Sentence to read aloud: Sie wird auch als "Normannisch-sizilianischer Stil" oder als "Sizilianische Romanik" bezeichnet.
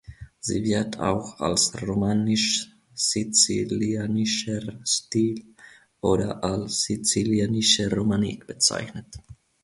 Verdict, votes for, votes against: rejected, 0, 2